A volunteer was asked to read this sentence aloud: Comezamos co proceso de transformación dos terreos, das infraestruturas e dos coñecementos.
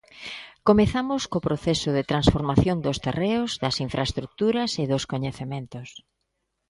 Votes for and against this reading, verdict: 2, 0, accepted